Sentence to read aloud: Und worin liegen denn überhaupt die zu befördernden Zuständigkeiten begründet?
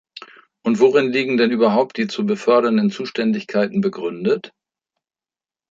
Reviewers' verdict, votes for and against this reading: accepted, 2, 0